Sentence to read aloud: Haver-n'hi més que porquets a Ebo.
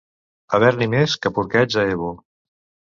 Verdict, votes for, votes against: accepted, 2, 1